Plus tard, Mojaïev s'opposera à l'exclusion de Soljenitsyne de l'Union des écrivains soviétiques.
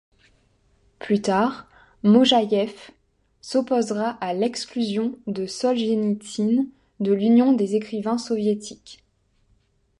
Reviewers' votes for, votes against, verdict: 2, 0, accepted